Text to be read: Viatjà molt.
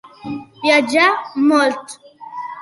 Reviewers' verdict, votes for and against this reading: accepted, 2, 0